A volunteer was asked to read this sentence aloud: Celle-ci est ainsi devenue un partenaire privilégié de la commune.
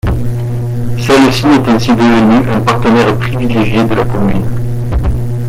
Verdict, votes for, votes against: rejected, 1, 2